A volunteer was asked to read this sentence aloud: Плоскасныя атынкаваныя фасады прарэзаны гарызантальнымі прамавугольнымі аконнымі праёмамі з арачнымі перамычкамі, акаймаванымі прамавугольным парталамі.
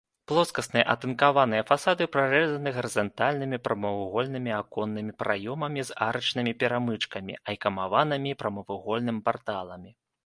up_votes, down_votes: 1, 2